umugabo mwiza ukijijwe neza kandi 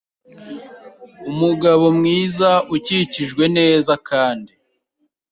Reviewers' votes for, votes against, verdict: 1, 2, rejected